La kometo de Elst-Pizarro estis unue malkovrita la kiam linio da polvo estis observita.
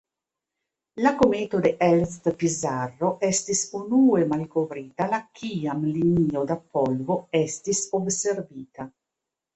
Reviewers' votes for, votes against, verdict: 2, 0, accepted